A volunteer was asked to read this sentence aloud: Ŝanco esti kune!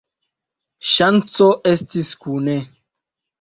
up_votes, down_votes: 2, 1